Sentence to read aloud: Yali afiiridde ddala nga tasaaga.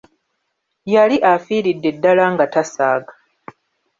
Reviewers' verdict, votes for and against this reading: accepted, 2, 1